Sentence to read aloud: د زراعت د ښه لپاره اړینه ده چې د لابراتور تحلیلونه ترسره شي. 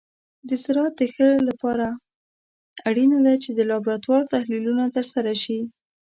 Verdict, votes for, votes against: rejected, 1, 2